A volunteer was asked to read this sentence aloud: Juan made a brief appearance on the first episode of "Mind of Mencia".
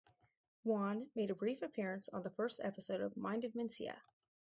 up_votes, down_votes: 4, 0